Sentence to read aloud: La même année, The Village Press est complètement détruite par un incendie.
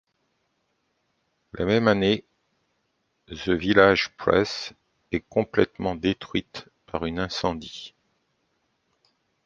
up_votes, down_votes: 0, 2